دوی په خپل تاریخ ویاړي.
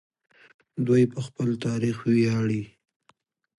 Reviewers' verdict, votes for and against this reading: accepted, 2, 0